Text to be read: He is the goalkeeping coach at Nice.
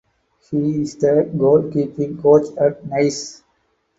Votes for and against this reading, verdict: 4, 0, accepted